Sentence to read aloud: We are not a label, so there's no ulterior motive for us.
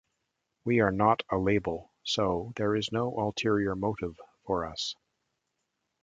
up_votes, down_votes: 2, 0